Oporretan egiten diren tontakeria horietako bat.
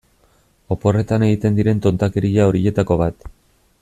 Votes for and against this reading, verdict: 1, 2, rejected